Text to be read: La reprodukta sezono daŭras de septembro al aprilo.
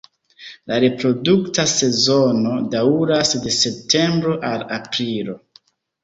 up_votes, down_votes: 1, 2